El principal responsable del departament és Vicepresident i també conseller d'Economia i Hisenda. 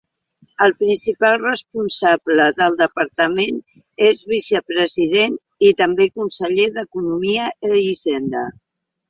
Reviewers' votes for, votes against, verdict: 1, 2, rejected